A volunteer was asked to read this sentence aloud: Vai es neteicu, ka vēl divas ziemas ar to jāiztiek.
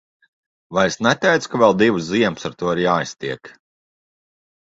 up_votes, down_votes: 1, 2